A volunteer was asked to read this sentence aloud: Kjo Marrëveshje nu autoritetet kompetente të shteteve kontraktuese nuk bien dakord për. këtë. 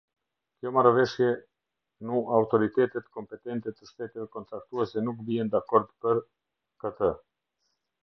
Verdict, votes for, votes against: rejected, 1, 2